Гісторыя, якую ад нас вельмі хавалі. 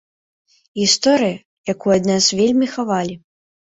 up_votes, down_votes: 3, 0